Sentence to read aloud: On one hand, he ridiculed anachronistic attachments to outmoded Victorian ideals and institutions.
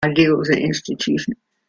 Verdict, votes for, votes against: rejected, 0, 2